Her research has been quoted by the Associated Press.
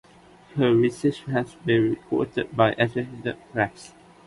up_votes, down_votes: 1, 2